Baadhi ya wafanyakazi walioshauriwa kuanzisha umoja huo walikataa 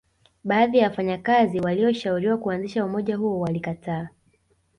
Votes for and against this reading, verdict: 2, 0, accepted